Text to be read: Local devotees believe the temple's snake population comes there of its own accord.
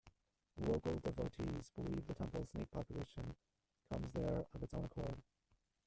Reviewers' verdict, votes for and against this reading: rejected, 0, 2